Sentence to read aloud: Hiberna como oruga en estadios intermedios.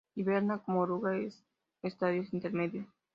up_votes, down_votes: 0, 2